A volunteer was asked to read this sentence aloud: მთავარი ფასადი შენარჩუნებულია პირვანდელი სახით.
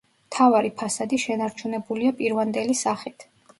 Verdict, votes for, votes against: accepted, 2, 0